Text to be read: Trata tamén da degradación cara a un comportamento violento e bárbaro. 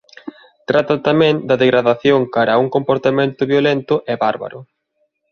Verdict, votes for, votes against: accepted, 2, 1